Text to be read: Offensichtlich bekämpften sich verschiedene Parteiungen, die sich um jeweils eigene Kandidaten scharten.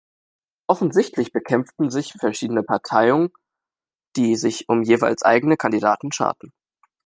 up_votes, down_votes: 1, 2